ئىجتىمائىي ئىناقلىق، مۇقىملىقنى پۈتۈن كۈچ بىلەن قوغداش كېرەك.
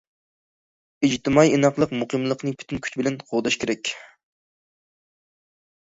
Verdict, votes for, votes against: accepted, 2, 0